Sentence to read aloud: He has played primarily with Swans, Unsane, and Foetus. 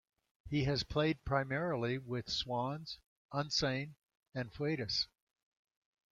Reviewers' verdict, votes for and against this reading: accepted, 2, 1